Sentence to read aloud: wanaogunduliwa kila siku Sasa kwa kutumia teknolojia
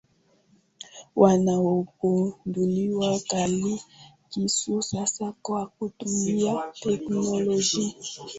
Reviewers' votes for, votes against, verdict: 0, 2, rejected